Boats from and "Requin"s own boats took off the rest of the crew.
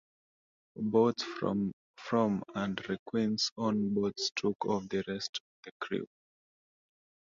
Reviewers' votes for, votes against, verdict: 1, 2, rejected